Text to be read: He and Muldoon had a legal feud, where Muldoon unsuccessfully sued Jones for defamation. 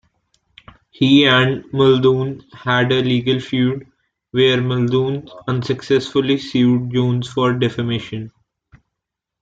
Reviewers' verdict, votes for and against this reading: accepted, 2, 0